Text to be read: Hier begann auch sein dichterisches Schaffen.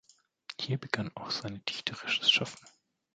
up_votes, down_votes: 2, 1